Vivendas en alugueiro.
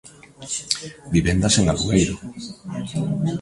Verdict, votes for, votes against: rejected, 1, 2